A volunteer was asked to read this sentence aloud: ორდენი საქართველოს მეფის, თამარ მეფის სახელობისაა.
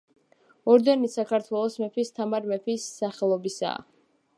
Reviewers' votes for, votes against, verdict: 2, 0, accepted